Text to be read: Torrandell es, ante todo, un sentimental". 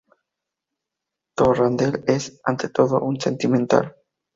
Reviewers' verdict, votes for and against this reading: accepted, 2, 0